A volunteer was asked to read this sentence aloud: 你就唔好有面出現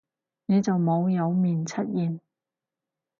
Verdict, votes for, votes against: rejected, 0, 4